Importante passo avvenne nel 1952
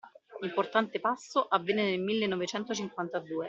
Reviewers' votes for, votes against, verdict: 0, 2, rejected